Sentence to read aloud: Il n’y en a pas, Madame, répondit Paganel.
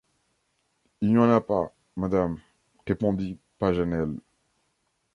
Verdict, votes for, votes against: accepted, 2, 1